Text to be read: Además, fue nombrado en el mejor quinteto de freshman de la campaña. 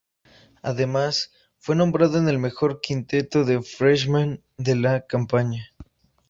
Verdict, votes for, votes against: accepted, 2, 0